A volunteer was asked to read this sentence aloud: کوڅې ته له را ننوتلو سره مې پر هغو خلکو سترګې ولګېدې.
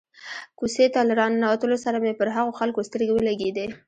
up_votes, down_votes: 2, 1